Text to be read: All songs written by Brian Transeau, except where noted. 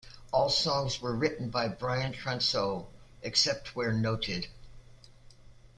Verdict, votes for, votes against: rejected, 0, 2